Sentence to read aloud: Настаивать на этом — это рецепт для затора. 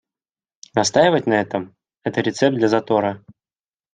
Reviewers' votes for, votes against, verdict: 2, 0, accepted